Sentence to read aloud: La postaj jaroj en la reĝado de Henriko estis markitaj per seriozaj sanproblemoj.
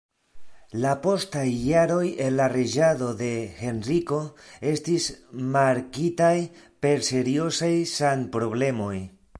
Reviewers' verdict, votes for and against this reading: accepted, 2, 0